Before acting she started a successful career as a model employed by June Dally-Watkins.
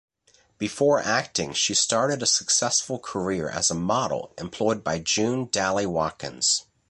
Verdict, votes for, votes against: accepted, 2, 0